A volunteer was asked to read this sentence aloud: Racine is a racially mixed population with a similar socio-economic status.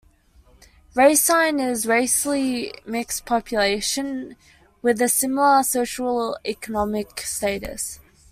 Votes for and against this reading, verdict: 0, 2, rejected